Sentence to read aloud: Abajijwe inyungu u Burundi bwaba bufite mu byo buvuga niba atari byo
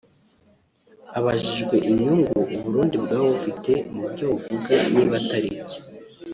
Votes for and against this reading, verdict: 1, 2, rejected